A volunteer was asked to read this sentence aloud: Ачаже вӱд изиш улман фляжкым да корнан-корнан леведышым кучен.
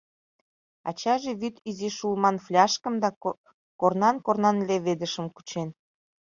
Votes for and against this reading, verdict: 1, 2, rejected